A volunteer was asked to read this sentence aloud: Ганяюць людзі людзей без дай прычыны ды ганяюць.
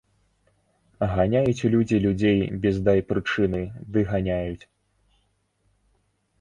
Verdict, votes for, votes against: accepted, 2, 0